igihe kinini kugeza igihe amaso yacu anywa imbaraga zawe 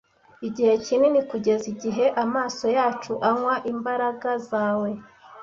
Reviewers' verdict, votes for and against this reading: accepted, 2, 0